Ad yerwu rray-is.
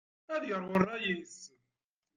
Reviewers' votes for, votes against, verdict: 0, 2, rejected